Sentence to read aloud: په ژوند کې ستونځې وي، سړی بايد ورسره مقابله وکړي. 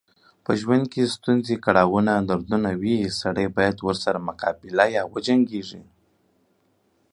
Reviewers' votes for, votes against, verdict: 1, 2, rejected